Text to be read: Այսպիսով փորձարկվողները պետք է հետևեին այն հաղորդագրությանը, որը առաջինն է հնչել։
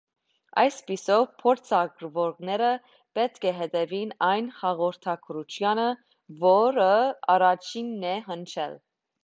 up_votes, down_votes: 2, 3